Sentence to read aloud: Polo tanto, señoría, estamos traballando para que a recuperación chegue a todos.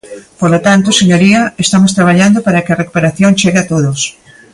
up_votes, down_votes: 2, 0